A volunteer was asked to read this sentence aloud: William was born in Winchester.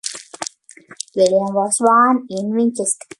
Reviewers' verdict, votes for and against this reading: rejected, 0, 2